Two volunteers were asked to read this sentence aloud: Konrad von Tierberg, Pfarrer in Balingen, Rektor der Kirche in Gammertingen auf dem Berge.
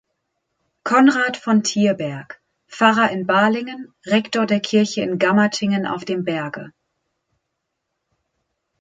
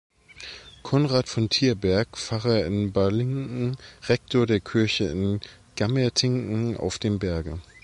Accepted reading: first